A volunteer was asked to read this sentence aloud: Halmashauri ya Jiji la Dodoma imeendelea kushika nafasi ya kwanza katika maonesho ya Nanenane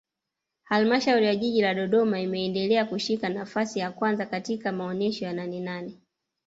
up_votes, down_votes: 2, 0